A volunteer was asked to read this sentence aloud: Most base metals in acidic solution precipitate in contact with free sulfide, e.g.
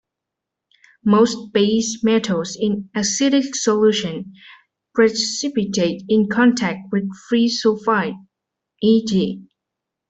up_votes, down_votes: 2, 0